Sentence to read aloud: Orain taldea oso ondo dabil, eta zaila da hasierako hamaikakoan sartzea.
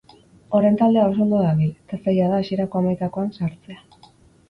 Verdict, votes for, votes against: accepted, 4, 0